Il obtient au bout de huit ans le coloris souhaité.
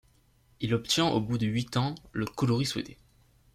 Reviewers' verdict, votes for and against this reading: accepted, 2, 0